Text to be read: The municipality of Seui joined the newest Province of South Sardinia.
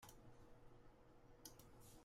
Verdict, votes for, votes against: rejected, 0, 2